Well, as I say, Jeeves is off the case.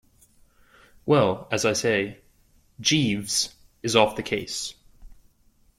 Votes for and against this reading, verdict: 2, 0, accepted